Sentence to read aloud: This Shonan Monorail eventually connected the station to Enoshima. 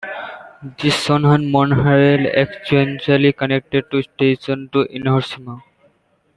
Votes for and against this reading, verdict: 1, 2, rejected